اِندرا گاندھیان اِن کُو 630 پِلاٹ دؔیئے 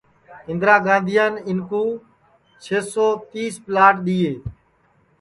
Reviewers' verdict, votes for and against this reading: rejected, 0, 2